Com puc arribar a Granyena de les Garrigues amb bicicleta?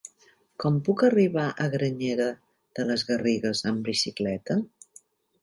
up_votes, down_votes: 1, 2